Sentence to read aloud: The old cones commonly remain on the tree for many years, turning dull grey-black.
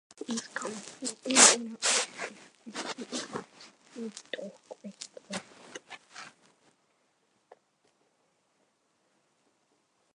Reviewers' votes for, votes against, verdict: 0, 2, rejected